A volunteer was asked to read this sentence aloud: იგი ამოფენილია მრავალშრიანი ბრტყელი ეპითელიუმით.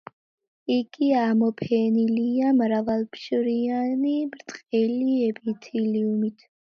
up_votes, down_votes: 0, 2